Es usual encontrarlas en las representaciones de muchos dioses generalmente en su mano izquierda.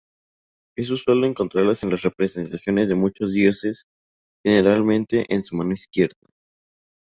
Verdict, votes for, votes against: accepted, 2, 0